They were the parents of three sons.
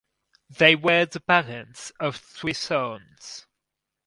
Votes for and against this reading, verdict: 4, 0, accepted